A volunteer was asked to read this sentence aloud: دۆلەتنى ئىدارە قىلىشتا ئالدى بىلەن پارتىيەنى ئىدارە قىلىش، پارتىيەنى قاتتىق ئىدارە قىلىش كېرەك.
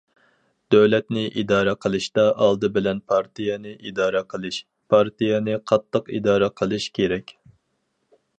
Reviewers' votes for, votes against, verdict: 4, 0, accepted